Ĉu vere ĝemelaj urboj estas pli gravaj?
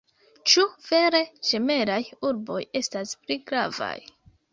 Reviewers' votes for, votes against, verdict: 2, 1, accepted